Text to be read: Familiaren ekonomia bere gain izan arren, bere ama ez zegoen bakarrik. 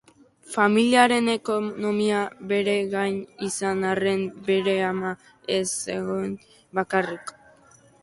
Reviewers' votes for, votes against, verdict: 4, 1, accepted